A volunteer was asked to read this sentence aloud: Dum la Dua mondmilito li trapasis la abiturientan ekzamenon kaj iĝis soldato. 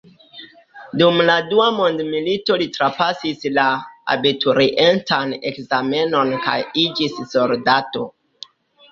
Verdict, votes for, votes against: rejected, 1, 2